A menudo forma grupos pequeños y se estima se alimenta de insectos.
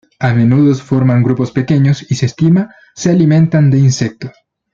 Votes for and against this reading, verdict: 0, 2, rejected